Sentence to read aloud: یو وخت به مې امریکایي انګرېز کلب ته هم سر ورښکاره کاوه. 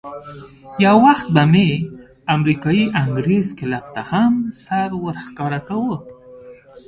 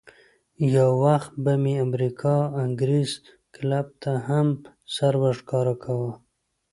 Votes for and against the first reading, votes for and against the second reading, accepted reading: 3, 0, 0, 2, first